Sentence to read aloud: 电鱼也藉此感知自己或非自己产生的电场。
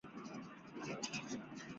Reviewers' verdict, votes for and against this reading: rejected, 0, 5